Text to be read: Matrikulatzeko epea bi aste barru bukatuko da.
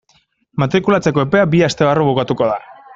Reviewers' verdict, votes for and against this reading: accepted, 2, 0